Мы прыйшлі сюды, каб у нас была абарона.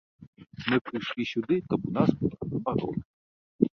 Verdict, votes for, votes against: rejected, 1, 2